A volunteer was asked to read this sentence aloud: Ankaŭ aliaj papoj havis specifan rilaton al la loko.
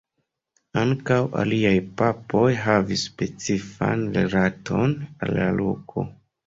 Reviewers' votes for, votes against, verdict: 2, 0, accepted